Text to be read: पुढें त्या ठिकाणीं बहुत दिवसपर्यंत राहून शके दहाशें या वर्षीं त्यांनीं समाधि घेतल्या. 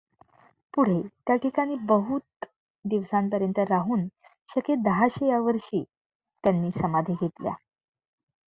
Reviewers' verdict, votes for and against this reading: accepted, 2, 0